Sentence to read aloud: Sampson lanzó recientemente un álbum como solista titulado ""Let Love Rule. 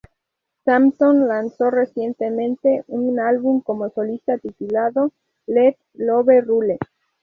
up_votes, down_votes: 0, 2